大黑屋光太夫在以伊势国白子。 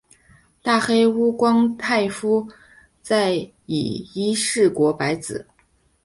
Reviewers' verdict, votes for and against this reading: accepted, 5, 0